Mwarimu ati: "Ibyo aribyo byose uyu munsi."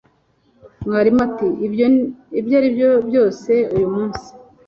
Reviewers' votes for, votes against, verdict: 1, 2, rejected